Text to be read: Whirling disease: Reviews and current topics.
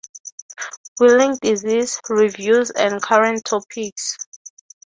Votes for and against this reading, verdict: 6, 3, accepted